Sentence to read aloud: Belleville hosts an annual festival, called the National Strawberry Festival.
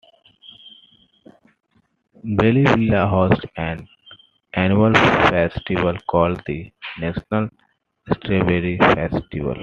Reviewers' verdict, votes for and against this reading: rejected, 1, 2